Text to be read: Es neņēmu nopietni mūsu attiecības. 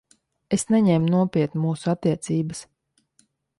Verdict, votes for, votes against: accepted, 2, 0